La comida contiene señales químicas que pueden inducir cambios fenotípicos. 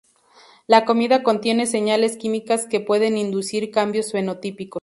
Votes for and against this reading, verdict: 2, 0, accepted